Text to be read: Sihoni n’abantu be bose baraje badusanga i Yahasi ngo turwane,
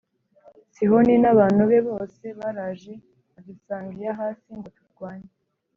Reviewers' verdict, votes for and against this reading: rejected, 1, 2